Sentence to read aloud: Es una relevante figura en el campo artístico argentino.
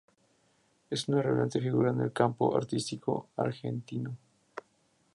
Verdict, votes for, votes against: accepted, 2, 0